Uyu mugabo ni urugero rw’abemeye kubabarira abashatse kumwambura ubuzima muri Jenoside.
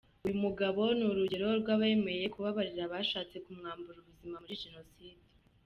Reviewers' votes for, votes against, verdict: 2, 0, accepted